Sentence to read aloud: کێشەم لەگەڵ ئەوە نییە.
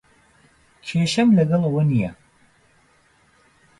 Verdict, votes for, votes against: accepted, 2, 0